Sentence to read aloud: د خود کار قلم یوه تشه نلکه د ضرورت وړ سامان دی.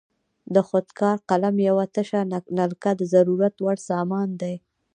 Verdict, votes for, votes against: rejected, 0, 2